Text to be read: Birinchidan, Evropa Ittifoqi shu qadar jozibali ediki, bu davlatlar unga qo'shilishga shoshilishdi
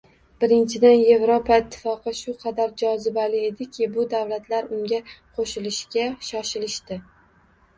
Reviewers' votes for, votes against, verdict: 1, 2, rejected